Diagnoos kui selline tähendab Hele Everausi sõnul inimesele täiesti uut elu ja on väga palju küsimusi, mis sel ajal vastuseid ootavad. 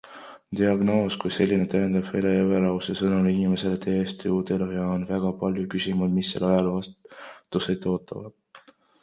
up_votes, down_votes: 1, 2